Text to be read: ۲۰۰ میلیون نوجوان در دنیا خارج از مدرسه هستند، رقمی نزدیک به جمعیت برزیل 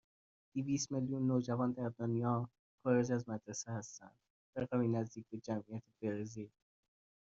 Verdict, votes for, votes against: rejected, 0, 2